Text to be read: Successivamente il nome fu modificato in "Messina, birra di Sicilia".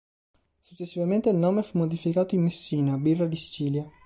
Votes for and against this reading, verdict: 1, 2, rejected